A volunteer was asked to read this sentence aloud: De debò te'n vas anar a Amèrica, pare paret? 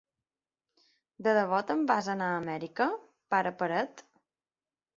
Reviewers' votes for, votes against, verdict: 2, 0, accepted